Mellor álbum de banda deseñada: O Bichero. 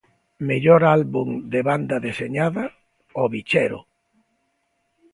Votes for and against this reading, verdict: 2, 0, accepted